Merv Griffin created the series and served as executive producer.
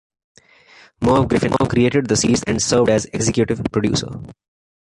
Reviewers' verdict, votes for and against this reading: accepted, 2, 0